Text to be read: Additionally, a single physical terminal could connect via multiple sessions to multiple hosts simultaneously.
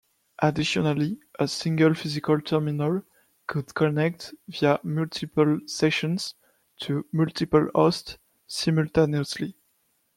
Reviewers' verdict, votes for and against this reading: accepted, 2, 1